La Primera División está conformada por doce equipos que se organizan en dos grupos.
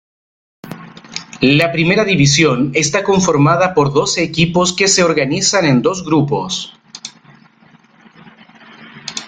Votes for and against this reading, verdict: 2, 0, accepted